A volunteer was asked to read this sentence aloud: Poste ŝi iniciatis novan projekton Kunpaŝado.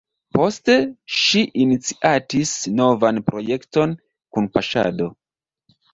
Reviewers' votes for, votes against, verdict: 1, 2, rejected